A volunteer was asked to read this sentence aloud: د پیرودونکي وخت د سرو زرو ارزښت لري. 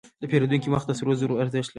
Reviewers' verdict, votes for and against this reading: rejected, 1, 2